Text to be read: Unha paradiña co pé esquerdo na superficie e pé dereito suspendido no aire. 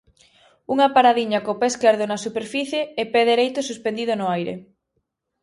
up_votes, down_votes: 2, 0